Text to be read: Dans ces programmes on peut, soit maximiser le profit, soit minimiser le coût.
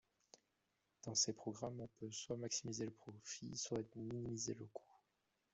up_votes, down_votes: 1, 2